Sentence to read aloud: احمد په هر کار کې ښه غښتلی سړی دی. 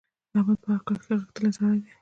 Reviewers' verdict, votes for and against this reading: rejected, 1, 2